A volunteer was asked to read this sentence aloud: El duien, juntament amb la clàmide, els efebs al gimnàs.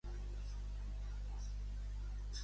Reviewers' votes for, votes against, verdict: 0, 2, rejected